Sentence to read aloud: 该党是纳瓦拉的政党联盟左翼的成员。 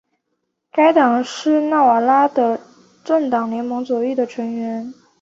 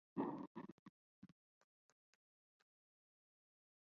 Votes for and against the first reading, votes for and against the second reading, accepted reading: 4, 0, 0, 6, first